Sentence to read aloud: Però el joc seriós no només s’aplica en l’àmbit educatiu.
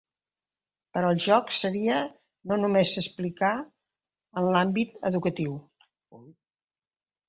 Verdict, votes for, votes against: rejected, 0, 2